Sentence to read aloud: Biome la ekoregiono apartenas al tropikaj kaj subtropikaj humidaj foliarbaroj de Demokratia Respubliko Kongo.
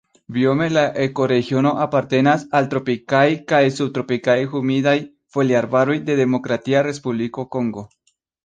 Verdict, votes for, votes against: rejected, 1, 2